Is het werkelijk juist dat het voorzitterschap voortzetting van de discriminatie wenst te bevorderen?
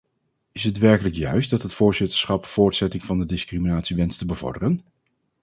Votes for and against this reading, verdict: 2, 2, rejected